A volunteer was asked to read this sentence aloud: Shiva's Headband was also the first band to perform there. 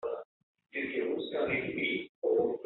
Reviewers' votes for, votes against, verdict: 0, 2, rejected